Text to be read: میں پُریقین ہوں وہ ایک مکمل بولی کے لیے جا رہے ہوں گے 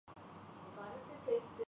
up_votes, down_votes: 0, 3